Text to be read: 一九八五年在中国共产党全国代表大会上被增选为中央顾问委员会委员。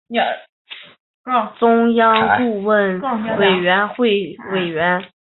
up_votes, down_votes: 1, 2